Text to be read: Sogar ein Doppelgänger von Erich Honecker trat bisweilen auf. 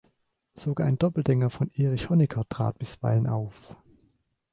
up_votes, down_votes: 0, 2